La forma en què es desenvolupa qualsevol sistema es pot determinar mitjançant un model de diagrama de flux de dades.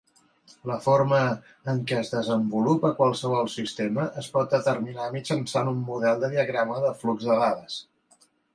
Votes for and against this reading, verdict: 2, 0, accepted